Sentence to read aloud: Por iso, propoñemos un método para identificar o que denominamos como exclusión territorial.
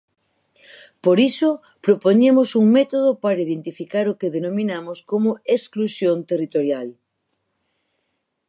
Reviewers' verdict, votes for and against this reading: accepted, 4, 0